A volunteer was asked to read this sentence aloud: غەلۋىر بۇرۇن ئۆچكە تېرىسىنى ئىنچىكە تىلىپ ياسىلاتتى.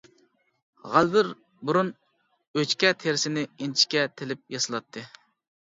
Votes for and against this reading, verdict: 2, 1, accepted